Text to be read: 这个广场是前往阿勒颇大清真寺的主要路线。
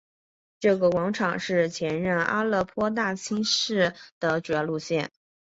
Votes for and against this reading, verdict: 2, 3, rejected